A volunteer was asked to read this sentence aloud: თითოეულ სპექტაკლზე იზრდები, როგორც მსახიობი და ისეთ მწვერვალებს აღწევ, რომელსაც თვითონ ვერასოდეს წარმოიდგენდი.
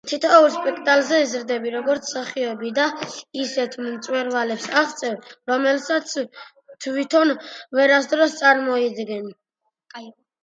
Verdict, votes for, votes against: rejected, 0, 2